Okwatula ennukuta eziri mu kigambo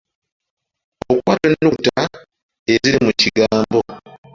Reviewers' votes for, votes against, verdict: 1, 2, rejected